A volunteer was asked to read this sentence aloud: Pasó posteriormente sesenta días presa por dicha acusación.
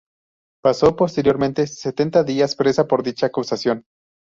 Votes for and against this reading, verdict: 0, 2, rejected